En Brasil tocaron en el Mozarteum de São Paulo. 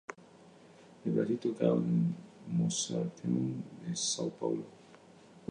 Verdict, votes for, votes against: rejected, 0, 2